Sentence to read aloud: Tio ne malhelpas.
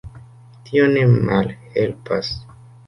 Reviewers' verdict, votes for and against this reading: accepted, 2, 1